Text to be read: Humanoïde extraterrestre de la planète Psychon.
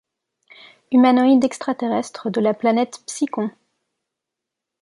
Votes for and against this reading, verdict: 2, 0, accepted